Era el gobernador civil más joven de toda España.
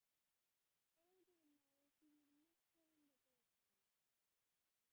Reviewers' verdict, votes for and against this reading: rejected, 0, 2